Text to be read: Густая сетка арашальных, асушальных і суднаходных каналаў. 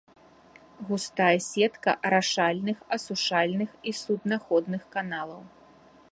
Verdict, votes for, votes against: rejected, 1, 2